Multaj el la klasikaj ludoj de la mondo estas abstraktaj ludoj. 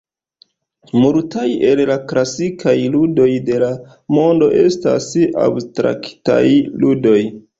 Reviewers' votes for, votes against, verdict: 1, 4, rejected